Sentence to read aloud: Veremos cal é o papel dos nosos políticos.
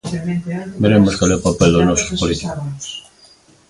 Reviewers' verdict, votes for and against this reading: rejected, 1, 2